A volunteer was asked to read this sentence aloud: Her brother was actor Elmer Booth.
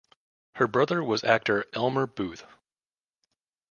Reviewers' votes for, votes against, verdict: 2, 0, accepted